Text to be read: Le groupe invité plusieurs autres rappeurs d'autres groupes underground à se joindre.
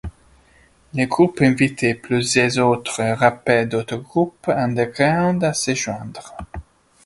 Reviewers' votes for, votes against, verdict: 1, 2, rejected